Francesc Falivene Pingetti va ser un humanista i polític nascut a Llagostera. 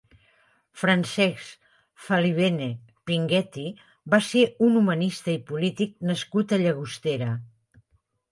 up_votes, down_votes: 3, 0